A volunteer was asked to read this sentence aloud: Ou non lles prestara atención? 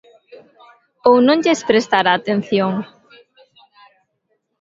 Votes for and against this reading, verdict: 2, 0, accepted